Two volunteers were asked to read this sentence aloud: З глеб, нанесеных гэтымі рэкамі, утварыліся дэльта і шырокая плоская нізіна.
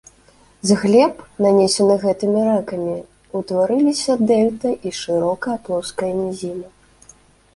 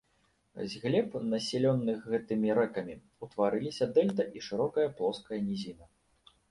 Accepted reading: first